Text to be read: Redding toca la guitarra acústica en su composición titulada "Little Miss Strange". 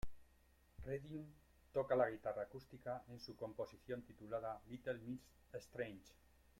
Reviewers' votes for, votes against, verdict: 1, 2, rejected